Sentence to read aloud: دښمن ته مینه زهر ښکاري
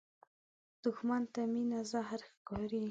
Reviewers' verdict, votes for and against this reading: accepted, 2, 0